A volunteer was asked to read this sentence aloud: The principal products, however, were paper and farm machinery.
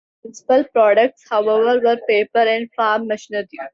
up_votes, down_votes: 0, 2